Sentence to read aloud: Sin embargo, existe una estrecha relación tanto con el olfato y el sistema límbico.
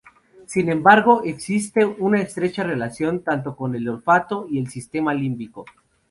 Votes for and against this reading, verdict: 2, 0, accepted